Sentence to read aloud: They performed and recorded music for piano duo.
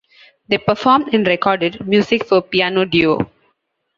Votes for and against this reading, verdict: 2, 0, accepted